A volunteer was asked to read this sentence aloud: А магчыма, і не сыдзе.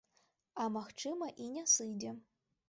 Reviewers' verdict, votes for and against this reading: accepted, 2, 0